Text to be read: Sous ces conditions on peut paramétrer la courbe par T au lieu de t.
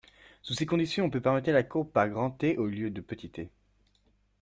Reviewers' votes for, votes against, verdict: 0, 2, rejected